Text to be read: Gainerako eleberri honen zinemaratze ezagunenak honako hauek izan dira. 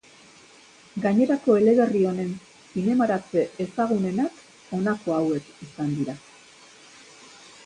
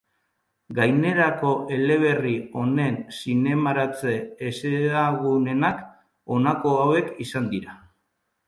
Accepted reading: first